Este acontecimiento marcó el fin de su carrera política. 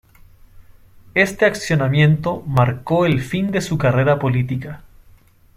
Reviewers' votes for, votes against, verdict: 0, 2, rejected